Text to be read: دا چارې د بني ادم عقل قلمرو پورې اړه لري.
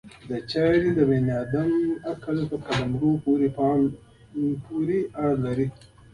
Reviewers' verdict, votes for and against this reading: rejected, 1, 2